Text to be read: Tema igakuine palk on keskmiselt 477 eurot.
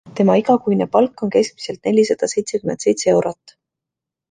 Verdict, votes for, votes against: rejected, 0, 2